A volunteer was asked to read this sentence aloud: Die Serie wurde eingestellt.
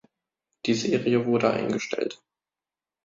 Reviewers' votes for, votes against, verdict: 2, 0, accepted